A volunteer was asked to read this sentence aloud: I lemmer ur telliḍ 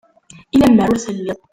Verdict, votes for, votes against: rejected, 0, 2